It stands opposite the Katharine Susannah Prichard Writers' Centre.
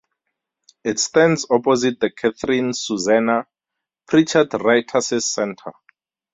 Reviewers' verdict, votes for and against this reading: accepted, 2, 0